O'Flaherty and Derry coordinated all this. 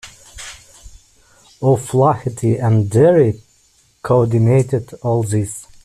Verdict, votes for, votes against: rejected, 0, 2